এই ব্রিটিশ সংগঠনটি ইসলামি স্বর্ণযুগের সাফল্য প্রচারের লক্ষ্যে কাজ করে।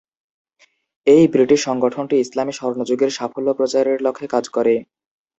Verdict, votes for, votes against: accepted, 2, 0